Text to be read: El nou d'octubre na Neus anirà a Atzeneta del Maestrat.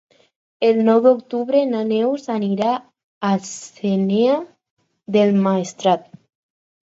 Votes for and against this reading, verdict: 0, 4, rejected